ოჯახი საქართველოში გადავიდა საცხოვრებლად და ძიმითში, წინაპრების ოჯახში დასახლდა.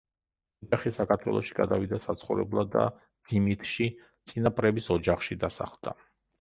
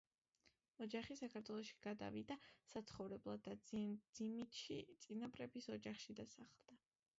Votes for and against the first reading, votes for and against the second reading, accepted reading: 0, 2, 2, 1, second